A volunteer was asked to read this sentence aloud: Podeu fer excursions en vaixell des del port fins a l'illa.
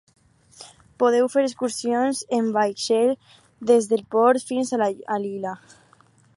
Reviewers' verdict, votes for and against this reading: rejected, 2, 4